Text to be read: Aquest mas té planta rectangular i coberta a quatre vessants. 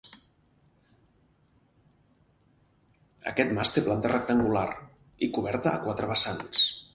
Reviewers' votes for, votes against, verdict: 0, 4, rejected